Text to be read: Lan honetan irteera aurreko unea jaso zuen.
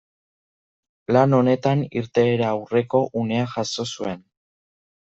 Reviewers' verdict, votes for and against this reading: accepted, 2, 0